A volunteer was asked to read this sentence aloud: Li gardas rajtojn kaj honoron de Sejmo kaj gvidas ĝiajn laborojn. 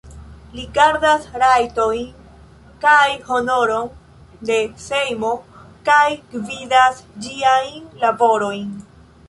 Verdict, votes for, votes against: accepted, 2, 1